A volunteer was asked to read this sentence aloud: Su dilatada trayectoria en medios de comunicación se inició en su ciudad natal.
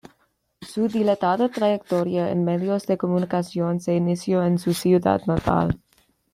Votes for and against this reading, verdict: 2, 0, accepted